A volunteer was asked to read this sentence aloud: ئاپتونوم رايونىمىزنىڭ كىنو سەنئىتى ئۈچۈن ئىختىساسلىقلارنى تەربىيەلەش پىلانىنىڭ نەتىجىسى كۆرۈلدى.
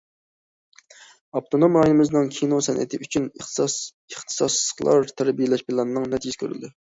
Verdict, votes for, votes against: rejected, 0, 2